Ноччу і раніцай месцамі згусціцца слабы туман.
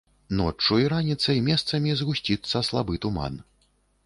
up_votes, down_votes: 2, 0